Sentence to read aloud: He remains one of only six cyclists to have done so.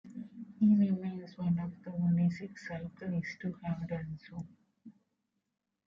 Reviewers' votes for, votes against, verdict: 1, 2, rejected